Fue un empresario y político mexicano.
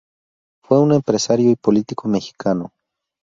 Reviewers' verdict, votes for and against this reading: accepted, 2, 0